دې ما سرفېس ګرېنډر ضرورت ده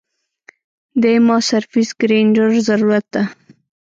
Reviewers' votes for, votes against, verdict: 0, 2, rejected